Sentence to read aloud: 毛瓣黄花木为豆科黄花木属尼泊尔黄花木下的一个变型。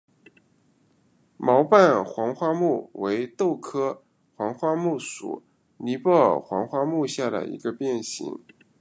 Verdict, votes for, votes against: accepted, 2, 0